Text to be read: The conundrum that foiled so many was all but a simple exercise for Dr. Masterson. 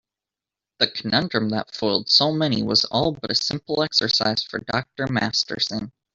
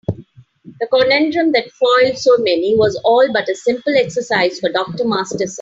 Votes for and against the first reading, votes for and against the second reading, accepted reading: 3, 0, 0, 2, first